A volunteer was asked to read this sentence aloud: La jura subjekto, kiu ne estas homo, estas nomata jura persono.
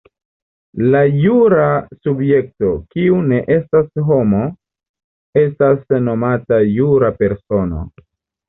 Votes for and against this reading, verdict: 2, 0, accepted